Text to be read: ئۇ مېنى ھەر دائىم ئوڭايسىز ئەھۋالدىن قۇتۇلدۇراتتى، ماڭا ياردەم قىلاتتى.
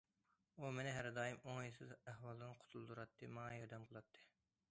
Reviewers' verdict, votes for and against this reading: accepted, 2, 0